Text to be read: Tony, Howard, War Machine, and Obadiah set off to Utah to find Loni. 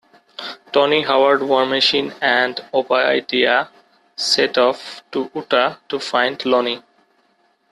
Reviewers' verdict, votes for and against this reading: rejected, 0, 2